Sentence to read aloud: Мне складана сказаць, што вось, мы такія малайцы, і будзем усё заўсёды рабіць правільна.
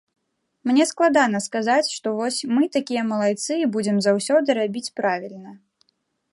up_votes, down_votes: 0, 2